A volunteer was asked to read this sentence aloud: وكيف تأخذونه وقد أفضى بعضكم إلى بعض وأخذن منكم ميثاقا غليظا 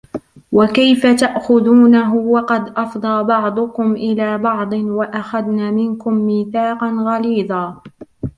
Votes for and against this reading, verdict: 1, 2, rejected